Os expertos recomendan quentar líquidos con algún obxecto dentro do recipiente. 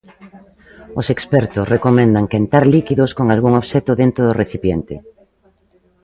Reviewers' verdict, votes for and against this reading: accepted, 2, 0